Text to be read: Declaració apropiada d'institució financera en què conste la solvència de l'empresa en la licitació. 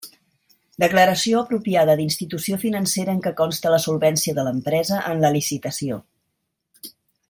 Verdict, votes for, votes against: accepted, 2, 0